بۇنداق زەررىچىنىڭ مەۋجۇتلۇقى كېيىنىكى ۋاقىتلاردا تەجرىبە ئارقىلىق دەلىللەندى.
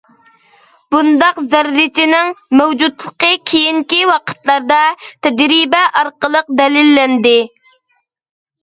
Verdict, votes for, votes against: rejected, 1, 2